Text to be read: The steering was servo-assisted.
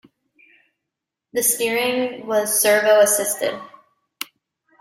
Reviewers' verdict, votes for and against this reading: accepted, 2, 0